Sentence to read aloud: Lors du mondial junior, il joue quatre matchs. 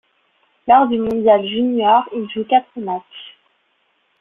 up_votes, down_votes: 2, 1